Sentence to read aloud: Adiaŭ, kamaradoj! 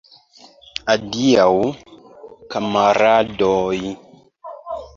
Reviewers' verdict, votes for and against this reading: accepted, 2, 1